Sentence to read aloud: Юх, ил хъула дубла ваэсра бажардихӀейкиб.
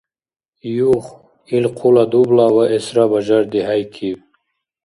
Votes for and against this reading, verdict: 2, 0, accepted